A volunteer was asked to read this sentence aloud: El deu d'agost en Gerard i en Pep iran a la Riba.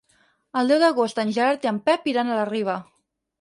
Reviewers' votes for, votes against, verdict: 6, 0, accepted